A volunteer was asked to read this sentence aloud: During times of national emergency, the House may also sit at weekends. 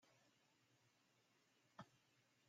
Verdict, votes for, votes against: rejected, 0, 2